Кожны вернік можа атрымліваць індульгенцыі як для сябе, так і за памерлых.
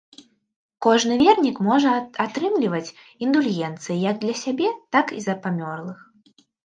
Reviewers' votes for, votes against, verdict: 0, 3, rejected